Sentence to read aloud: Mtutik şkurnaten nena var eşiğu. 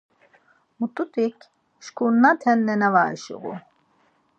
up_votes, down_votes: 2, 4